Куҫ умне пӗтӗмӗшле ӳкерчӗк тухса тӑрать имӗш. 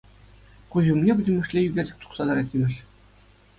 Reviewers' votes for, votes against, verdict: 2, 0, accepted